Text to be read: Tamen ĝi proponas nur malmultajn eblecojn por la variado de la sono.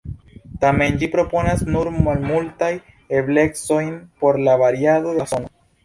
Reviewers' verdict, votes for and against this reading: rejected, 1, 2